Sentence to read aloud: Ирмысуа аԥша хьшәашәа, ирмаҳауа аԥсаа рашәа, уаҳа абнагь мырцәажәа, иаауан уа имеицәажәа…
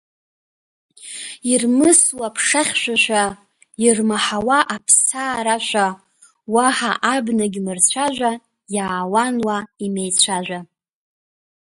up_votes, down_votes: 1, 2